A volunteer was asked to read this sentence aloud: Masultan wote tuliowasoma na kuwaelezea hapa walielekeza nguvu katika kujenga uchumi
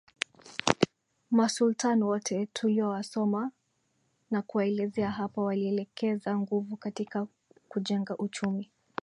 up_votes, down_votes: 2, 0